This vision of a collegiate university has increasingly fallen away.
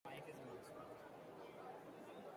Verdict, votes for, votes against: rejected, 0, 2